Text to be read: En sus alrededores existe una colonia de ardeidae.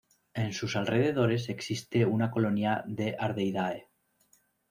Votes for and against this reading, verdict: 2, 0, accepted